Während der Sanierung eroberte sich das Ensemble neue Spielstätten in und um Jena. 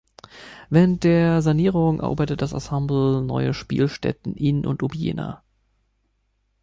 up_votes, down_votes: 0, 2